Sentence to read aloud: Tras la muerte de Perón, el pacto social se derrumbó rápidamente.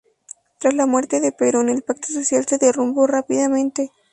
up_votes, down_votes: 4, 2